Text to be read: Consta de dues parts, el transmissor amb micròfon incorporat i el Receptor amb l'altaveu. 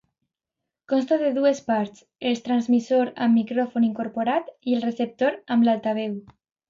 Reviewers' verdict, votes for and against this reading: rejected, 1, 2